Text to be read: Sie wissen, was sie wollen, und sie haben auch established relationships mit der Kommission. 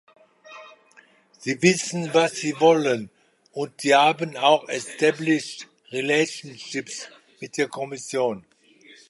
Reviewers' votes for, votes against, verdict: 2, 0, accepted